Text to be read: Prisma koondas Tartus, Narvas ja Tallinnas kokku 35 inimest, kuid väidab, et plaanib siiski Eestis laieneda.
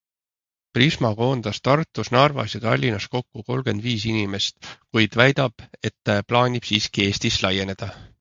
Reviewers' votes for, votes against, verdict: 0, 2, rejected